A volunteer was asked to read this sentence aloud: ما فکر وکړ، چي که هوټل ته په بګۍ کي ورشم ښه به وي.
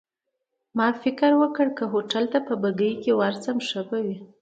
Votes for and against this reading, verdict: 2, 1, accepted